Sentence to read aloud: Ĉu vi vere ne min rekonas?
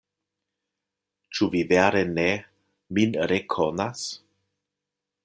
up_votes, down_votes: 2, 0